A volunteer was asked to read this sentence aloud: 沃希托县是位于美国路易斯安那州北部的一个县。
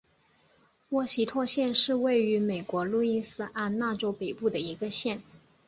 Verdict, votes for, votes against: accepted, 4, 0